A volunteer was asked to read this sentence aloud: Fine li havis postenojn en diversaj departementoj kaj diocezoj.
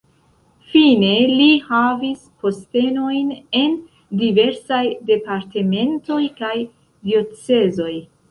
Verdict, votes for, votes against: rejected, 1, 2